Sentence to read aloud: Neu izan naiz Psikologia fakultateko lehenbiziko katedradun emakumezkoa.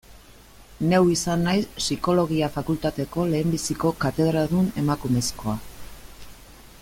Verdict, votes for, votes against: accepted, 2, 0